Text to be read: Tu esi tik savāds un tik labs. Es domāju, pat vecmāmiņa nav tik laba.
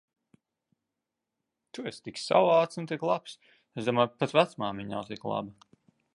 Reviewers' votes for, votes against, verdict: 0, 2, rejected